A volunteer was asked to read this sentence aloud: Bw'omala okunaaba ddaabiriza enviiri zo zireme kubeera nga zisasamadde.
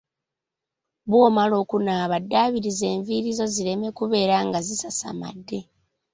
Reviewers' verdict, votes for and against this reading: rejected, 1, 2